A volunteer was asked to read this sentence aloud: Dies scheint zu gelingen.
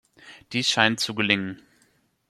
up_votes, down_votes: 2, 0